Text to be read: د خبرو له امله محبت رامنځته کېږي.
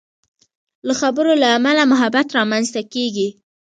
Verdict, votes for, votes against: rejected, 0, 2